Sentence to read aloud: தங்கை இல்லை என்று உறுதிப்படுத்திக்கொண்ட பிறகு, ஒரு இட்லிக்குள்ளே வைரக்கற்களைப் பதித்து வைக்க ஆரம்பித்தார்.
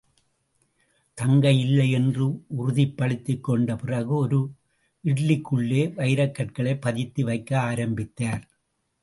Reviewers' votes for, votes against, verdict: 2, 0, accepted